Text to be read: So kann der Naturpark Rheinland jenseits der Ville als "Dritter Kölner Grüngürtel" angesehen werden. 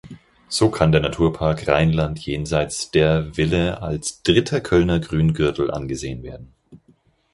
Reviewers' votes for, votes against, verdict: 4, 0, accepted